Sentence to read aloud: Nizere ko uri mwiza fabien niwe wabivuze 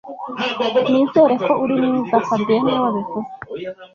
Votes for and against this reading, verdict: 1, 2, rejected